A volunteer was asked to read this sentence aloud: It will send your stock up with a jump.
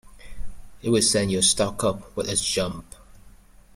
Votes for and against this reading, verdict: 0, 2, rejected